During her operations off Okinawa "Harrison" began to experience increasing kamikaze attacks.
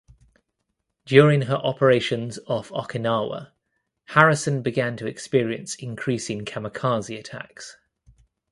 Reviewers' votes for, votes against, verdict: 2, 1, accepted